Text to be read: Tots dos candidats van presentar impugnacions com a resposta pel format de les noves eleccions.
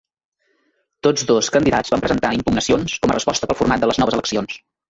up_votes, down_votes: 0, 2